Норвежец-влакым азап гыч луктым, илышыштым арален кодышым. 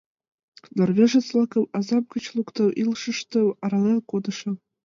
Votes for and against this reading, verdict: 1, 2, rejected